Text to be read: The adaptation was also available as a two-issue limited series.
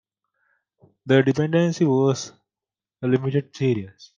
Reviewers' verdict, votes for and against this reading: rejected, 0, 2